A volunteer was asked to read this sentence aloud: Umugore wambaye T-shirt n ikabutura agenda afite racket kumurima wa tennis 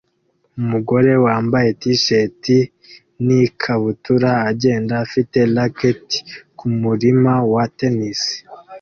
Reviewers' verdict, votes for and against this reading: accepted, 2, 0